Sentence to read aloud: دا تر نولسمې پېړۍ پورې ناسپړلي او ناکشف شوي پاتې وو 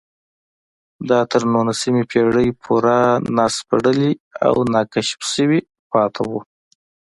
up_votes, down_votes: 2, 0